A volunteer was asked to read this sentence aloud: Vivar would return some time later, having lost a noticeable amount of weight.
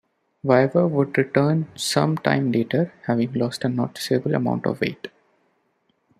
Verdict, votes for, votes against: rejected, 1, 2